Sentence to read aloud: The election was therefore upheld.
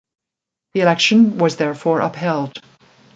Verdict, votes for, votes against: accepted, 2, 0